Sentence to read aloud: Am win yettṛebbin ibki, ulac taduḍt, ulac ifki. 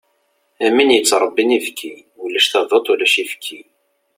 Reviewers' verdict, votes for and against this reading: accepted, 2, 0